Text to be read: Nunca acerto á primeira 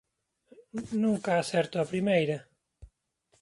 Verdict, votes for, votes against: accepted, 2, 0